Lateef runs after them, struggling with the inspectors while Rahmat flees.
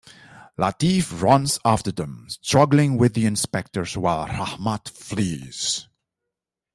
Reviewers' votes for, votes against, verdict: 2, 0, accepted